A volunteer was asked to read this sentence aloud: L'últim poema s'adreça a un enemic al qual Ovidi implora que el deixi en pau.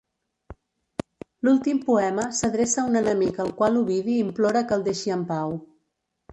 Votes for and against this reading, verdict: 2, 1, accepted